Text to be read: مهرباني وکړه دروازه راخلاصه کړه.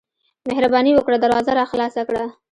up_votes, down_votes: 1, 2